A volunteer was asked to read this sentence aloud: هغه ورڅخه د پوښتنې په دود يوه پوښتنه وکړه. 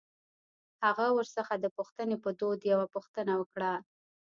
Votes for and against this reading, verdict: 3, 1, accepted